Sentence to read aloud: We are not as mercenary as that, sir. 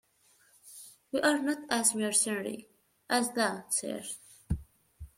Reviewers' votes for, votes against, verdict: 1, 2, rejected